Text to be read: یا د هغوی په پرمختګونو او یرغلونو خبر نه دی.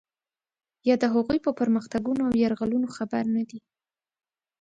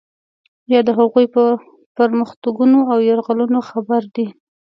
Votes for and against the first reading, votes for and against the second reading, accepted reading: 2, 1, 0, 2, first